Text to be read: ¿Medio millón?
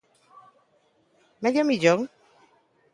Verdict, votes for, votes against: accepted, 2, 0